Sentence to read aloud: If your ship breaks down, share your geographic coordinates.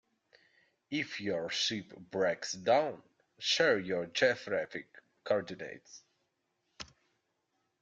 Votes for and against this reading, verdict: 1, 2, rejected